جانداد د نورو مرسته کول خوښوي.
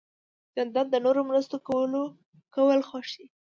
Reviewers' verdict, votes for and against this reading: rejected, 1, 2